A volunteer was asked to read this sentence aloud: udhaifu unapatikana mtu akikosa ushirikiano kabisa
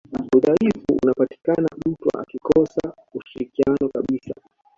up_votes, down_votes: 2, 1